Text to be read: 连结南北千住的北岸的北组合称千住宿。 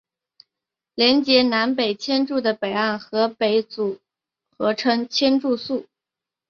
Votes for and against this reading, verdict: 2, 1, accepted